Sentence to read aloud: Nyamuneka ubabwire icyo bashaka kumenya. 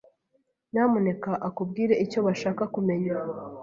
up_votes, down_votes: 0, 2